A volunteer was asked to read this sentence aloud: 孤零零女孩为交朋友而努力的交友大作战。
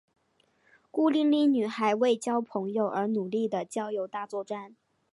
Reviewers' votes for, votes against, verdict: 2, 1, accepted